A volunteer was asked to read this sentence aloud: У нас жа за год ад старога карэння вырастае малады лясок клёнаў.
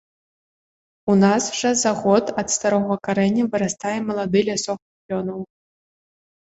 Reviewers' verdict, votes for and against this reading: rejected, 1, 2